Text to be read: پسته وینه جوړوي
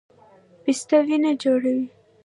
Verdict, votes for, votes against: rejected, 1, 2